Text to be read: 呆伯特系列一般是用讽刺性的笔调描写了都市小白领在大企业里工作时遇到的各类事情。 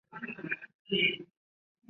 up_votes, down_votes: 0, 2